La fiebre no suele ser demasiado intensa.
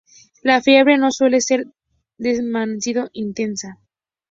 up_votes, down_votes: 2, 0